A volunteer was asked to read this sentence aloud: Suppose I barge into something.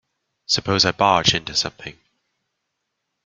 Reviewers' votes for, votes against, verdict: 2, 0, accepted